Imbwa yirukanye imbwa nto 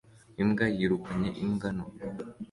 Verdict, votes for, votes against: accepted, 2, 1